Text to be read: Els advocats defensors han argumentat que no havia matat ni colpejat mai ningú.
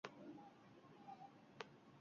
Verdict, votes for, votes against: rejected, 0, 2